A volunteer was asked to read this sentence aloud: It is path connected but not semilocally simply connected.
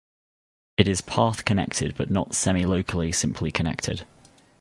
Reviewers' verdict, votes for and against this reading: accepted, 2, 0